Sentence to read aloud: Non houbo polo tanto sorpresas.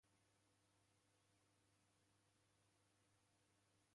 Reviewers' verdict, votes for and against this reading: rejected, 0, 2